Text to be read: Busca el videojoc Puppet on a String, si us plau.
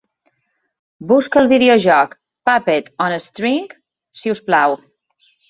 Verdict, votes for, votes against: accepted, 2, 0